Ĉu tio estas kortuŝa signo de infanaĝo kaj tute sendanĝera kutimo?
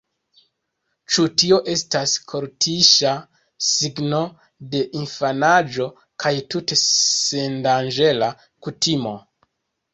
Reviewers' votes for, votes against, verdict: 0, 2, rejected